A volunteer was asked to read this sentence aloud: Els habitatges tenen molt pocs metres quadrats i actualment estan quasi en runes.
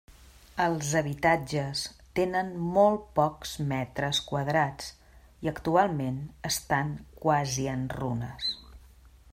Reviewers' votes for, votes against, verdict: 3, 0, accepted